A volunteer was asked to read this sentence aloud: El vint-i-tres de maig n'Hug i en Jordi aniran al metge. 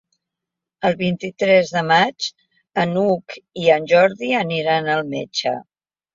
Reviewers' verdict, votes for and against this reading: rejected, 0, 2